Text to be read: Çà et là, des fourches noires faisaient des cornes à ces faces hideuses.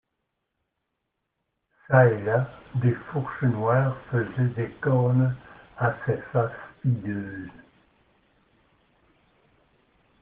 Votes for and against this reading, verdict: 2, 0, accepted